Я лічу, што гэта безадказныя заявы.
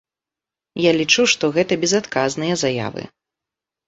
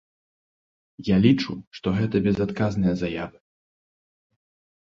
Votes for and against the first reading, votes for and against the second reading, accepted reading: 2, 0, 1, 2, first